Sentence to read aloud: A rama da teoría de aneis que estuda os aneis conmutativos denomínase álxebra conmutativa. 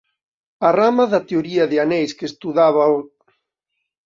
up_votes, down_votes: 0, 2